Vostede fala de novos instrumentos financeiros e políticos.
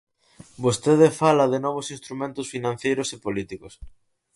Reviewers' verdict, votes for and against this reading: rejected, 0, 4